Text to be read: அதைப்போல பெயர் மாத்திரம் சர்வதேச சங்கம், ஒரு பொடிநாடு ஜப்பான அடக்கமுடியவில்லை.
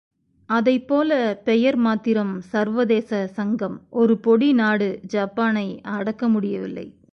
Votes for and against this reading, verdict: 1, 2, rejected